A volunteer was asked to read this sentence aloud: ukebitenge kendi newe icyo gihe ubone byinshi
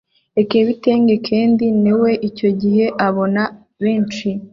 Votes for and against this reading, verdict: 0, 2, rejected